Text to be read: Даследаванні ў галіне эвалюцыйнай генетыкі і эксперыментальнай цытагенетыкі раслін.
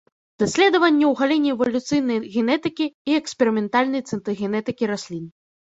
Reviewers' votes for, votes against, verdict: 1, 2, rejected